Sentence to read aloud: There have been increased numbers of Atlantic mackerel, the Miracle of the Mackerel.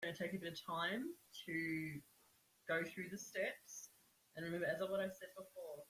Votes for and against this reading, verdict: 1, 2, rejected